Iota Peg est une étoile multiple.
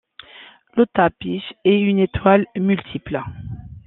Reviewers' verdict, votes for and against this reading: rejected, 0, 2